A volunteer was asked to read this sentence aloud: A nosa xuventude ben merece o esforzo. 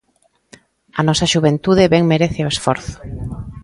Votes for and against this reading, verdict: 2, 0, accepted